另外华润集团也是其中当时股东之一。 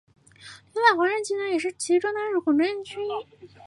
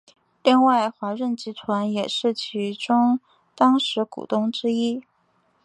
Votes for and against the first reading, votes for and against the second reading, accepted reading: 0, 3, 2, 0, second